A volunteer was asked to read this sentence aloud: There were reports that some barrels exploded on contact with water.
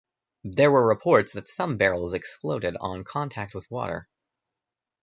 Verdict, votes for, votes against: accepted, 2, 0